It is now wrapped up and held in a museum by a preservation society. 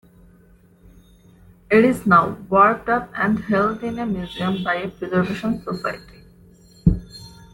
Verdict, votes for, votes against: rejected, 0, 2